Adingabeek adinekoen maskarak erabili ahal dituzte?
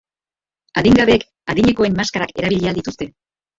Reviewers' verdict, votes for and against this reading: rejected, 0, 2